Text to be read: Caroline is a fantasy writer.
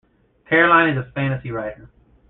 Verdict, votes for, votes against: accepted, 2, 1